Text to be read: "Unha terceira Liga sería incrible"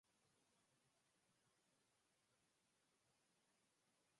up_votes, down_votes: 0, 2